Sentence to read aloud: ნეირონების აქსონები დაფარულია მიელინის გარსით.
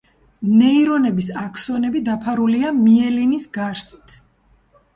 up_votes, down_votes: 2, 0